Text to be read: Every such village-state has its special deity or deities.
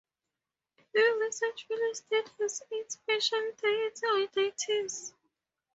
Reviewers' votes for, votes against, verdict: 0, 2, rejected